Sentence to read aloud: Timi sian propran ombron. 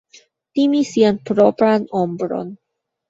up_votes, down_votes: 2, 1